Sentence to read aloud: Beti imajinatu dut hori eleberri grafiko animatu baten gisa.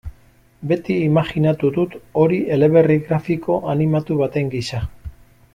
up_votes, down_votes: 1, 2